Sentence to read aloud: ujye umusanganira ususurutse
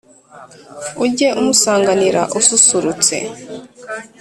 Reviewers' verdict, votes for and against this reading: accepted, 2, 0